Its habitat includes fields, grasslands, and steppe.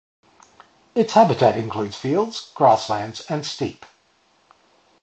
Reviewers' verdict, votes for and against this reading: rejected, 0, 2